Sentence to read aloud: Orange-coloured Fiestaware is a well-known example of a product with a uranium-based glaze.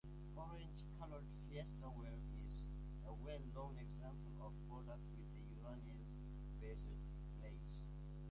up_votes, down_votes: 0, 2